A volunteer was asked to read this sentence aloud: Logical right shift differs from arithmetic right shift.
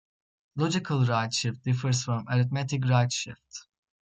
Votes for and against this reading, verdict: 2, 0, accepted